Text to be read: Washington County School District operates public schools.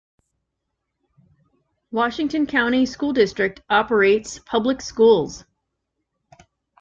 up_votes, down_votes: 2, 0